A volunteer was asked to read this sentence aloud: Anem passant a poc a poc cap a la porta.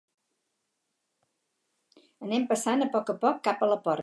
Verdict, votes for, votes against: rejected, 2, 2